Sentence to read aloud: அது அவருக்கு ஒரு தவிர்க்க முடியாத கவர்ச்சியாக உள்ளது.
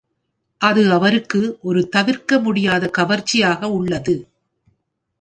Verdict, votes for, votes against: accepted, 2, 0